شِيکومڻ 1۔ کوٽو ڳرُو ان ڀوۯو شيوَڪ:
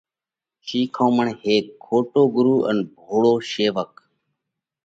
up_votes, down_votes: 0, 2